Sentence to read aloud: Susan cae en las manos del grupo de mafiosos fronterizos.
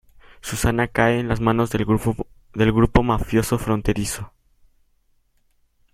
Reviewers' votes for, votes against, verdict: 0, 2, rejected